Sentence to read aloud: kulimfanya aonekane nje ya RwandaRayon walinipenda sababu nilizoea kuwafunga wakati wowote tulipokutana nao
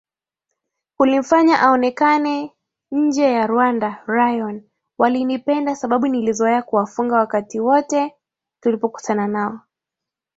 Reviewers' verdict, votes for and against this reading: rejected, 2, 2